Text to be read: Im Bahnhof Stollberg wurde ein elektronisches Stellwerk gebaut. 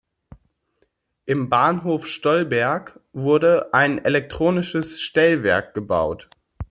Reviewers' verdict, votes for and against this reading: accepted, 2, 0